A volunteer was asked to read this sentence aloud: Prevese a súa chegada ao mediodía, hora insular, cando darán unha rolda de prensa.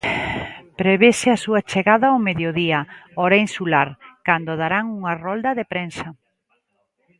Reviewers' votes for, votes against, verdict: 2, 0, accepted